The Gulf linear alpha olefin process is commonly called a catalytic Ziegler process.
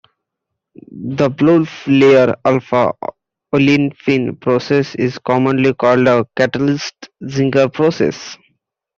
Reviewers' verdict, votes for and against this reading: rejected, 0, 2